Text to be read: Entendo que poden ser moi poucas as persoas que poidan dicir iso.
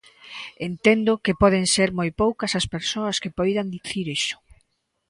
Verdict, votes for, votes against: accepted, 2, 0